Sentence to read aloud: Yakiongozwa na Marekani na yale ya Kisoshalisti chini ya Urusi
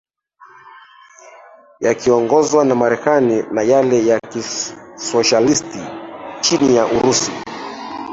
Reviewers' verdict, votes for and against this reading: rejected, 0, 3